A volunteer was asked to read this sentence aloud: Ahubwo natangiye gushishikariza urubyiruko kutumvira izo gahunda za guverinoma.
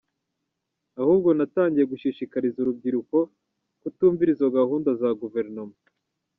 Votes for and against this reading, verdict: 2, 0, accepted